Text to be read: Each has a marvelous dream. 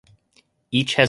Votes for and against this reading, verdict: 0, 2, rejected